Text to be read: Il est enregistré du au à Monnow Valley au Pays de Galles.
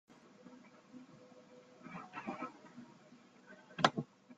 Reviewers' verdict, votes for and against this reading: rejected, 0, 2